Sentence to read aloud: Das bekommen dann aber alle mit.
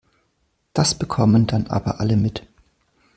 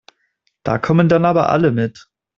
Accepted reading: first